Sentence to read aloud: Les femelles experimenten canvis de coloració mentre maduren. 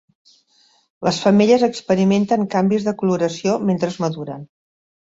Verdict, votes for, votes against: rejected, 1, 2